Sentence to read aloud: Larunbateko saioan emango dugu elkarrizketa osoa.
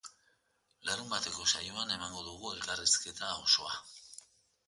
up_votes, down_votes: 2, 0